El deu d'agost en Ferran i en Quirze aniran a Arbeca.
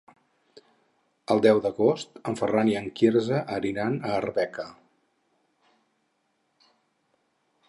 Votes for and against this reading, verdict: 0, 4, rejected